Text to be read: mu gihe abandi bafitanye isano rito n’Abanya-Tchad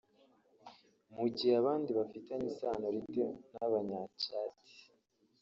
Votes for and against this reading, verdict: 1, 2, rejected